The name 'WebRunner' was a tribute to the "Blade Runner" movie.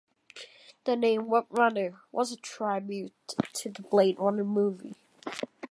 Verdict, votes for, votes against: rejected, 1, 2